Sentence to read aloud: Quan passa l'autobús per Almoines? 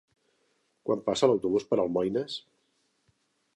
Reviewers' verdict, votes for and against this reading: accepted, 3, 0